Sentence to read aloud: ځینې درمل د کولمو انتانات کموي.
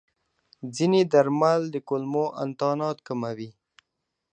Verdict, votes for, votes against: accepted, 2, 0